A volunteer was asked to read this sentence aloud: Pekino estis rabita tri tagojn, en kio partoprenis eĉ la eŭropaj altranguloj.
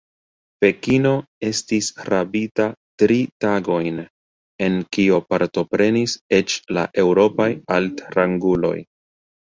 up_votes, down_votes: 1, 2